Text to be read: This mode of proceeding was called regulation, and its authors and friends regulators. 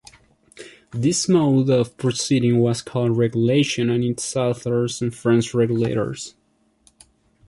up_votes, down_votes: 1, 2